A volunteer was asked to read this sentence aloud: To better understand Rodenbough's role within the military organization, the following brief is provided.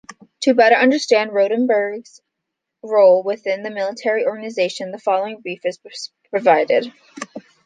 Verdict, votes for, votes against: rejected, 1, 2